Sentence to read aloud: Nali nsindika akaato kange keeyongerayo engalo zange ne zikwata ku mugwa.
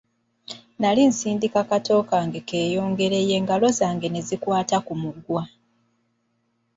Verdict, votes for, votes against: rejected, 0, 2